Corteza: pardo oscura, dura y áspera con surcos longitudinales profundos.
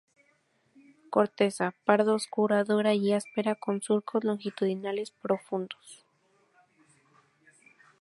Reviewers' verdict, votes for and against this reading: accepted, 6, 0